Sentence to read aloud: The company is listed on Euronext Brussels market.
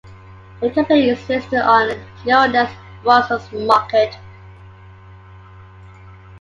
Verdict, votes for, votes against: accepted, 3, 1